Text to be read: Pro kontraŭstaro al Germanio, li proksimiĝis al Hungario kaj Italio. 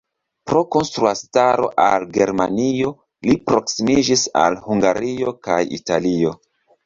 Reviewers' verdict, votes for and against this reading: accepted, 2, 0